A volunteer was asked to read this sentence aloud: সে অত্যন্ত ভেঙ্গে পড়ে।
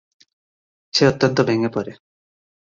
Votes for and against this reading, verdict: 47, 17, accepted